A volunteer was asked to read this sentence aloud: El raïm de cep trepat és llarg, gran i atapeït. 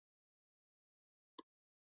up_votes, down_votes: 0, 2